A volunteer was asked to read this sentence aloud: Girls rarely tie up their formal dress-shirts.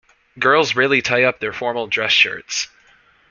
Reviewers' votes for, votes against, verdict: 0, 2, rejected